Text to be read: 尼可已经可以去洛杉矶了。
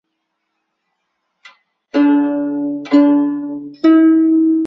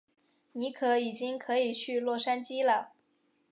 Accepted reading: second